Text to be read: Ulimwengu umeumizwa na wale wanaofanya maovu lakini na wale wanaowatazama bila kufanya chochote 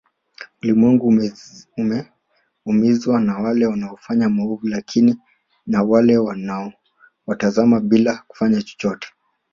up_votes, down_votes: 2, 1